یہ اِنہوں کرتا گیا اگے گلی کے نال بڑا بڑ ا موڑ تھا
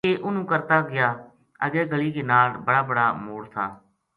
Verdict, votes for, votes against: accepted, 2, 0